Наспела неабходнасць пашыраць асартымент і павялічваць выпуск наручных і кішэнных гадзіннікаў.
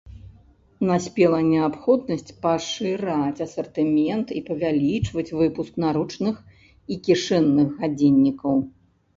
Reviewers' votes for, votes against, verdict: 0, 2, rejected